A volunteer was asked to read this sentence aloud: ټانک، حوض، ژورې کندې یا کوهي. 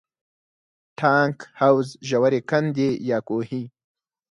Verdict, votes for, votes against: accepted, 4, 0